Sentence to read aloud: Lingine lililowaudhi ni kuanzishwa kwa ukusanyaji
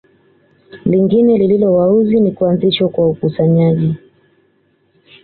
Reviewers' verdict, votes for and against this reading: accepted, 3, 0